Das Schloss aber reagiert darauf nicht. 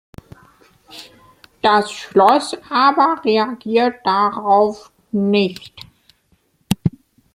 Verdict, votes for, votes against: accepted, 2, 0